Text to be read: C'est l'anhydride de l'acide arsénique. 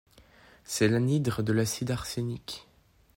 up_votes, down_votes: 0, 2